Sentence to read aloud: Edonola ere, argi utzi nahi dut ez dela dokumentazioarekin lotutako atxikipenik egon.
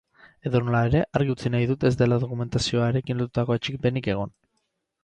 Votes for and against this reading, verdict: 0, 2, rejected